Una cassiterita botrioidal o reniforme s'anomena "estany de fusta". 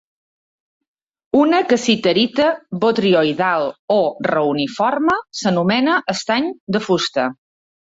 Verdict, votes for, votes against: rejected, 1, 2